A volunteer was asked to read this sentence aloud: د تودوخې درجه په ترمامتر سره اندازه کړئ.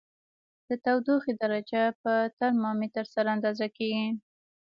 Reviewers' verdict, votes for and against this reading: rejected, 1, 2